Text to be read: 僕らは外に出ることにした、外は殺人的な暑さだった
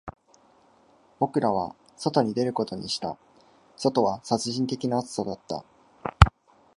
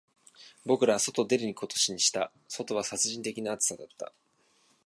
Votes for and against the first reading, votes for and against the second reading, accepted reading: 2, 0, 1, 2, first